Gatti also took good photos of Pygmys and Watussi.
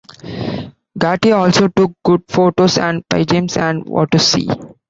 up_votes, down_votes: 0, 2